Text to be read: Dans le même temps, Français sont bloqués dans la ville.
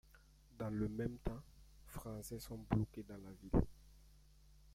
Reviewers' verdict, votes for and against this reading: rejected, 1, 2